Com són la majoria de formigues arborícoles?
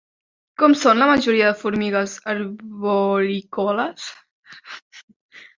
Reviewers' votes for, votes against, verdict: 1, 2, rejected